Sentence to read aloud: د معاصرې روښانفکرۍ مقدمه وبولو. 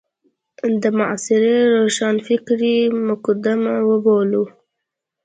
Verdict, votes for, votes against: rejected, 1, 2